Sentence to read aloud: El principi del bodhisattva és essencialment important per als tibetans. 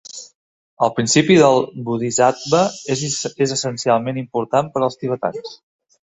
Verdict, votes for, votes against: rejected, 1, 2